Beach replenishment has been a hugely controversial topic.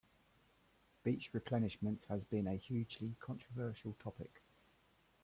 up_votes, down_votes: 2, 0